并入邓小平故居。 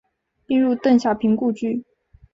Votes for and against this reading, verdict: 3, 0, accepted